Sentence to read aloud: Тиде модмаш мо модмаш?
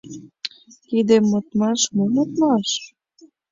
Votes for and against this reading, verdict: 1, 3, rejected